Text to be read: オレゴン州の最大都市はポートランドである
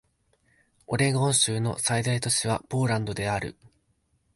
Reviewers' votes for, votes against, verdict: 1, 2, rejected